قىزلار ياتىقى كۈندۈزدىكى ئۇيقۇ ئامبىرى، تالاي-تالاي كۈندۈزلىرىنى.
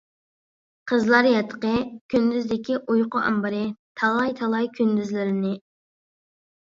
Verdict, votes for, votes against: accepted, 2, 0